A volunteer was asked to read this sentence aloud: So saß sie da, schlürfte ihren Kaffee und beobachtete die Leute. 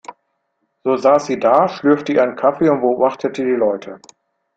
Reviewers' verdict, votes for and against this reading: accepted, 2, 0